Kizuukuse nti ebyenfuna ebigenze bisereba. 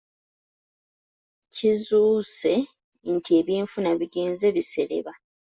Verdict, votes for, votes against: accepted, 2, 0